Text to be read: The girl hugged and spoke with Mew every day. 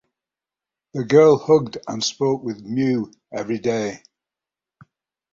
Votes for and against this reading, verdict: 9, 0, accepted